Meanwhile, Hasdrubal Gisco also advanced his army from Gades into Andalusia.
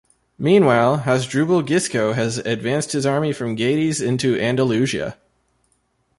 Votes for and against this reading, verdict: 1, 2, rejected